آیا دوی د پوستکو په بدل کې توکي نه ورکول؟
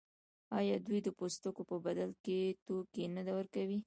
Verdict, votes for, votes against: rejected, 1, 2